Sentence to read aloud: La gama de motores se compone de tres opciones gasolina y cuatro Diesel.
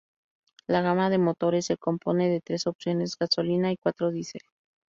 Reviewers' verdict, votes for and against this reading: accepted, 2, 0